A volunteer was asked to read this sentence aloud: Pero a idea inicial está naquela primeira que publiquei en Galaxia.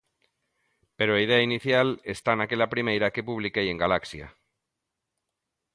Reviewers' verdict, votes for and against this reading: accepted, 2, 0